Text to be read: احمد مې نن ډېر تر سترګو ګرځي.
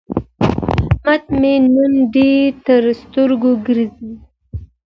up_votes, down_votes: 2, 0